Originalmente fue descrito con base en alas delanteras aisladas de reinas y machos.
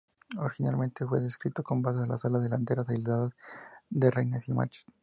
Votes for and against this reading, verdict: 2, 0, accepted